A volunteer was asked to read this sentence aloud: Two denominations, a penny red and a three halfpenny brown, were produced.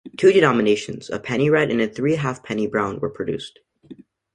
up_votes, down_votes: 2, 0